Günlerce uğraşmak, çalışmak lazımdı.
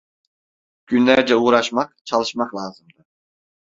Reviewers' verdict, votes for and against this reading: rejected, 1, 2